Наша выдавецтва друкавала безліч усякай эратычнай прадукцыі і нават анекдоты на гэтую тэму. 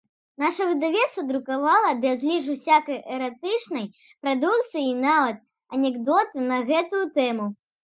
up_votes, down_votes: 0, 2